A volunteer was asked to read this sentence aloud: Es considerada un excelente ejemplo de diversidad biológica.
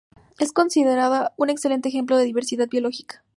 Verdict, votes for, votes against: accepted, 2, 0